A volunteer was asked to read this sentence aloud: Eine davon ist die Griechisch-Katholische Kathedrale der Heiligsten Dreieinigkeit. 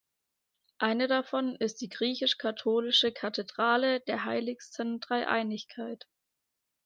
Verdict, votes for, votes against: accepted, 2, 0